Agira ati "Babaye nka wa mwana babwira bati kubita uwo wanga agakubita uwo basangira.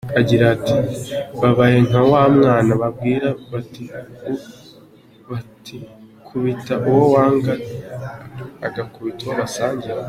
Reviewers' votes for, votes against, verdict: 0, 4, rejected